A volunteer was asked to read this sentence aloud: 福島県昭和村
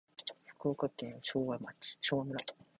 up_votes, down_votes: 0, 2